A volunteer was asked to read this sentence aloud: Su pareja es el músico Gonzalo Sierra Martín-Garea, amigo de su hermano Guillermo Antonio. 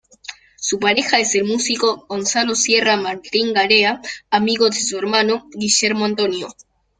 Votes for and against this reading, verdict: 2, 0, accepted